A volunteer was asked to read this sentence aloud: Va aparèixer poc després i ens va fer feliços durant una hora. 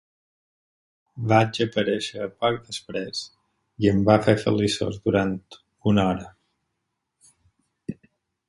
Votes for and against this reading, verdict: 0, 4, rejected